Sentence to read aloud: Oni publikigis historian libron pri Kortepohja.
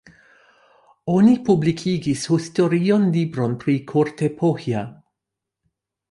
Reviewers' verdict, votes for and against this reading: rejected, 0, 2